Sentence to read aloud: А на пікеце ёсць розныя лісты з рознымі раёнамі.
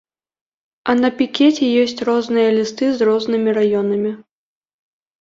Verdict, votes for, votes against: accepted, 2, 0